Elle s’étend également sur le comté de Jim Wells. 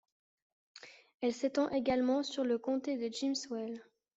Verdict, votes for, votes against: rejected, 1, 2